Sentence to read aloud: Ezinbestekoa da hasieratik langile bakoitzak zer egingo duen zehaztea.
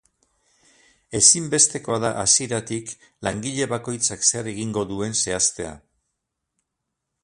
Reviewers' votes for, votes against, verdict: 6, 0, accepted